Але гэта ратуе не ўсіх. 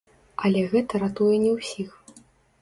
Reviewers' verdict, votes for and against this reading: rejected, 1, 2